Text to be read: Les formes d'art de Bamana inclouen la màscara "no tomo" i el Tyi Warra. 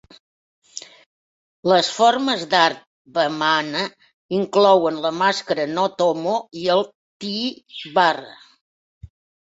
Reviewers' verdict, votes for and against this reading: rejected, 0, 2